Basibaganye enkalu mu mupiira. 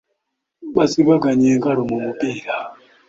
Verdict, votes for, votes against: accepted, 2, 0